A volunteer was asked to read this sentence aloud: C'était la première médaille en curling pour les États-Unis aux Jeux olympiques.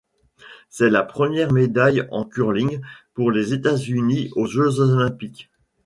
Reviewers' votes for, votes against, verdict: 2, 1, accepted